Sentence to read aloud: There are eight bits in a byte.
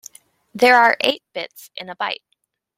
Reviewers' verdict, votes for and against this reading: accepted, 2, 0